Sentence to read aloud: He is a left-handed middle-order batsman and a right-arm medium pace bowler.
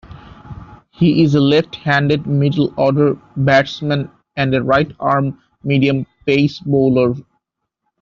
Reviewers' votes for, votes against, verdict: 2, 0, accepted